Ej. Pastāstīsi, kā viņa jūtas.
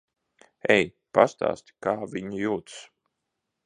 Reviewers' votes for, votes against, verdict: 2, 1, accepted